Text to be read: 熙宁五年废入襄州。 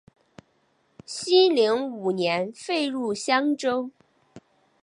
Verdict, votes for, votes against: accepted, 2, 0